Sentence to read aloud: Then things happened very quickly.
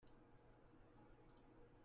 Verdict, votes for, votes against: rejected, 0, 2